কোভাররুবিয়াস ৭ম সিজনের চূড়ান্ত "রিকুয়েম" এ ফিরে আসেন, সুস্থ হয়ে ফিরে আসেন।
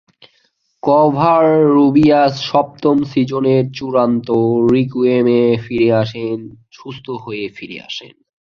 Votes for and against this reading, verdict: 0, 2, rejected